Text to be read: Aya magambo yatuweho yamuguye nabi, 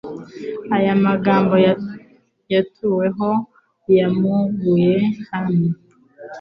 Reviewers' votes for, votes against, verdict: 1, 2, rejected